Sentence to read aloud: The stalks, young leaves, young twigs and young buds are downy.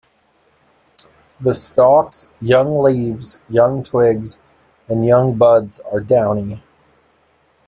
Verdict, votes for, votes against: accepted, 2, 0